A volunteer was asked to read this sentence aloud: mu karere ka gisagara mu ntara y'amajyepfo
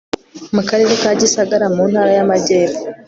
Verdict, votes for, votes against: accepted, 2, 0